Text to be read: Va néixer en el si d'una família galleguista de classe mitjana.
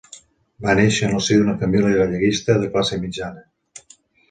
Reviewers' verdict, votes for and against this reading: accepted, 2, 0